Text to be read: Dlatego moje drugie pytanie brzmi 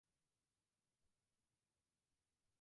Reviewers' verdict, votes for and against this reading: rejected, 0, 4